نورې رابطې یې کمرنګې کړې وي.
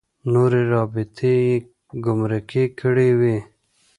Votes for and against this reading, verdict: 0, 2, rejected